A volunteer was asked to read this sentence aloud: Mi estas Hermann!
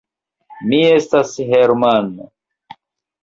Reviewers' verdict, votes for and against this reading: accepted, 2, 0